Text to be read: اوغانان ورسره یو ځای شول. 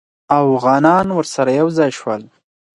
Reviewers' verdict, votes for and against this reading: accepted, 4, 2